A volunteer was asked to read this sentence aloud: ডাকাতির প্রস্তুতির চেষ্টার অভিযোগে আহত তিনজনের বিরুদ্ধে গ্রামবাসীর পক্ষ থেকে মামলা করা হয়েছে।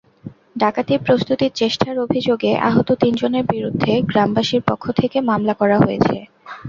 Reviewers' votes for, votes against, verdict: 0, 2, rejected